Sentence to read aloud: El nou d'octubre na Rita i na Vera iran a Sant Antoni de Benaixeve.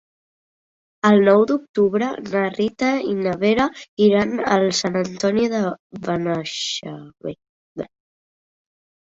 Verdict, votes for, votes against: rejected, 0, 2